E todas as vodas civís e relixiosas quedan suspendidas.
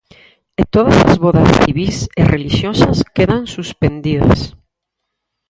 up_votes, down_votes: 4, 6